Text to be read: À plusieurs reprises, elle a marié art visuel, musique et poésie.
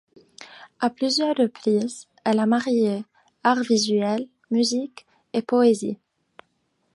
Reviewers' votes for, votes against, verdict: 2, 0, accepted